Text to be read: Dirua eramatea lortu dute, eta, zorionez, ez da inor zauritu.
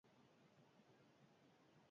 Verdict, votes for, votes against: rejected, 0, 4